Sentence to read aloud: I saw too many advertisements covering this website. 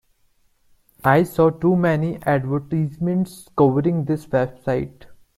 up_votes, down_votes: 2, 0